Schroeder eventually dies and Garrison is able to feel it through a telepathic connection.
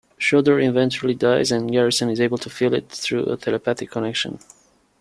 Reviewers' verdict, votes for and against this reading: accepted, 2, 0